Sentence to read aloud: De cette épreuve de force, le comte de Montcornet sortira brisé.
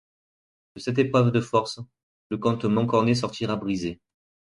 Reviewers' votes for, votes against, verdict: 1, 2, rejected